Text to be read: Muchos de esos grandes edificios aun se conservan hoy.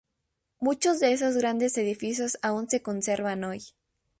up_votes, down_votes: 2, 0